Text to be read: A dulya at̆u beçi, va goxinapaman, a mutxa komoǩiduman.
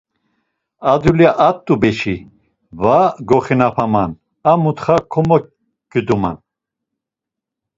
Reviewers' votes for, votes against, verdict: 2, 0, accepted